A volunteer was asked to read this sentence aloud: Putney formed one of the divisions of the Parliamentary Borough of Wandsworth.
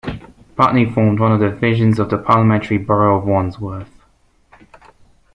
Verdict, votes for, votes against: accepted, 2, 0